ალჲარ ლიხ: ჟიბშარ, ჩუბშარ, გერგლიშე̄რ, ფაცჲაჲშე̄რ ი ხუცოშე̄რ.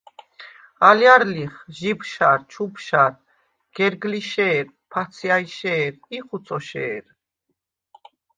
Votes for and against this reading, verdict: 2, 0, accepted